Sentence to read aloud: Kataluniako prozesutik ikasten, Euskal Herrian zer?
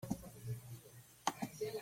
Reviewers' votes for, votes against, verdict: 0, 2, rejected